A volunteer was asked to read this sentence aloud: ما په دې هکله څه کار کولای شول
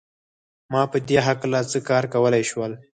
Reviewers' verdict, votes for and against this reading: accepted, 4, 0